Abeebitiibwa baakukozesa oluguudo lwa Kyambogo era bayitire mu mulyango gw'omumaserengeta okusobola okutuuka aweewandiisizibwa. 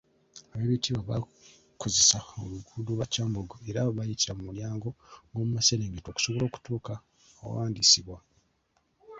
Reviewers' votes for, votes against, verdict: 1, 2, rejected